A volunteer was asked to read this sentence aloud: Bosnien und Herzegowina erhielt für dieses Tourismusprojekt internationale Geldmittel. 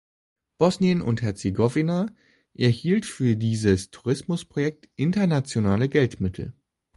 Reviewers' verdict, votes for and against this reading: accepted, 2, 0